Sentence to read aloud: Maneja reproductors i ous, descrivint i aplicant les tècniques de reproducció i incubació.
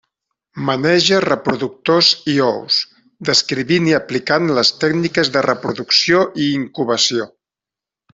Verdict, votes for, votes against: accepted, 2, 0